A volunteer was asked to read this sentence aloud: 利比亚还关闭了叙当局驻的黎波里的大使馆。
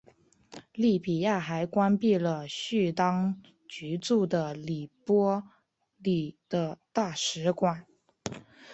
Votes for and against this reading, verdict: 1, 2, rejected